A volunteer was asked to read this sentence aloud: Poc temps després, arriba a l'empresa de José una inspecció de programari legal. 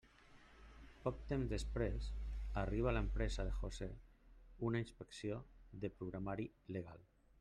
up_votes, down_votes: 1, 2